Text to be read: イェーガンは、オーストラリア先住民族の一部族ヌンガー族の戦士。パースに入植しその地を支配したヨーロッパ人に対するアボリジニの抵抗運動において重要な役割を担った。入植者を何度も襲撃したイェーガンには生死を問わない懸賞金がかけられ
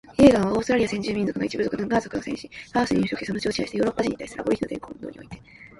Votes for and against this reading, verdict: 2, 1, accepted